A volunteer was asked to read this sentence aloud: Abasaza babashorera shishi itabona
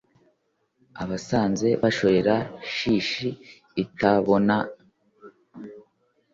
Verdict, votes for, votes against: rejected, 0, 2